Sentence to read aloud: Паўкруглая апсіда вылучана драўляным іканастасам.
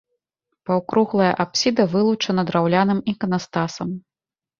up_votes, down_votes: 2, 0